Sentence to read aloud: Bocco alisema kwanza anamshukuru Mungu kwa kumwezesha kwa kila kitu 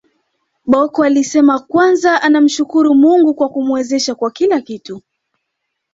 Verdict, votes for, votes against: accepted, 2, 1